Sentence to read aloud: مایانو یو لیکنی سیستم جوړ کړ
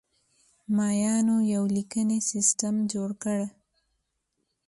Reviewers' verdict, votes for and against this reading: accepted, 2, 0